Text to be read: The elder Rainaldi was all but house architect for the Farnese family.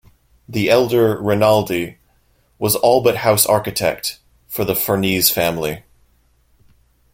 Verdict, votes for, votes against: rejected, 0, 2